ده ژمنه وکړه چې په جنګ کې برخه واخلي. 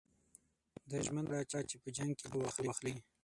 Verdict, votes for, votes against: rejected, 3, 6